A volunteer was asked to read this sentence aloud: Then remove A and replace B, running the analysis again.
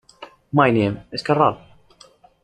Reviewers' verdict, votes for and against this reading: rejected, 0, 2